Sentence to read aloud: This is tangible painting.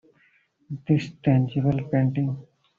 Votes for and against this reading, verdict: 0, 2, rejected